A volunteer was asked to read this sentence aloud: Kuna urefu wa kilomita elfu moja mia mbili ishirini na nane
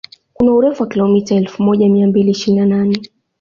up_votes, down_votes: 2, 1